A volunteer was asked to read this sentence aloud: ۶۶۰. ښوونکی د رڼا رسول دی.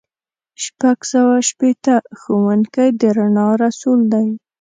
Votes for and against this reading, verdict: 0, 2, rejected